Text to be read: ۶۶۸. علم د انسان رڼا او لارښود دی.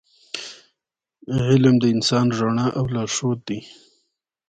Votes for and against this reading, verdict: 0, 2, rejected